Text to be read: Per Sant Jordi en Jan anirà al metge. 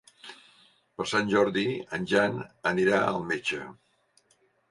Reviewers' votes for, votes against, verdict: 3, 0, accepted